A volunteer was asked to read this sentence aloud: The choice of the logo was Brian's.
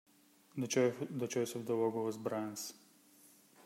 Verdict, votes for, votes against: rejected, 0, 2